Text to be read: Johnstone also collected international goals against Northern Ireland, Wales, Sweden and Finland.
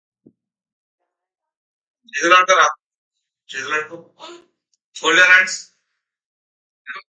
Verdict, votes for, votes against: rejected, 0, 2